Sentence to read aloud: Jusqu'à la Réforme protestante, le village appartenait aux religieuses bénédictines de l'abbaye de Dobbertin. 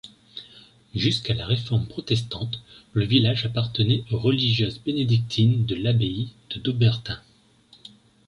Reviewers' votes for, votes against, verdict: 2, 0, accepted